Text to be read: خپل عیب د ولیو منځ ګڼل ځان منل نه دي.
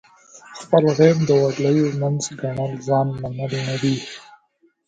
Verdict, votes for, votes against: accepted, 2, 1